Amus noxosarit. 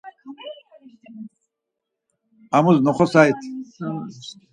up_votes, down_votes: 2, 4